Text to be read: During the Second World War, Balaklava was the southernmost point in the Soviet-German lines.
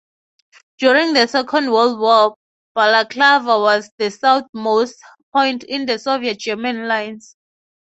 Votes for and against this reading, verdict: 3, 0, accepted